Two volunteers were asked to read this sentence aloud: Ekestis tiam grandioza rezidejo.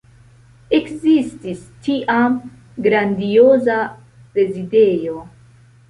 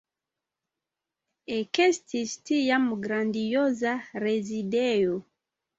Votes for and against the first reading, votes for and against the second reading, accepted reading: 0, 2, 2, 0, second